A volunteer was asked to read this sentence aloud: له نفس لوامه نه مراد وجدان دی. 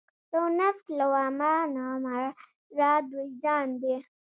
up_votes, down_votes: 0, 2